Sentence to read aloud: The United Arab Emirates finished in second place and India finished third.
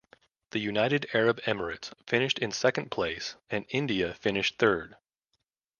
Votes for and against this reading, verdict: 2, 0, accepted